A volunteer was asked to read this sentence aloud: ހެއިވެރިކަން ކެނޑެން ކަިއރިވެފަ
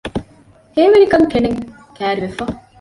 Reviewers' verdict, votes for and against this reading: rejected, 1, 2